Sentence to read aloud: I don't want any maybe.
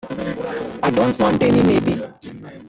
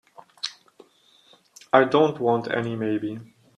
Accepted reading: second